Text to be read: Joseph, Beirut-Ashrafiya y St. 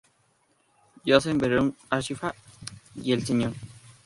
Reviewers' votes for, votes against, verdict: 0, 2, rejected